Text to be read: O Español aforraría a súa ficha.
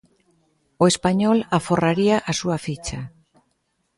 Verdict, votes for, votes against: accepted, 2, 0